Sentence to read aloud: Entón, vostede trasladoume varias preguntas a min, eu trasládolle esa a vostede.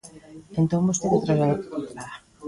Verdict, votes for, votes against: rejected, 0, 2